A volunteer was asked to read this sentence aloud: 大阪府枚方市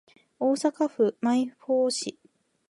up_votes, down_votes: 1, 2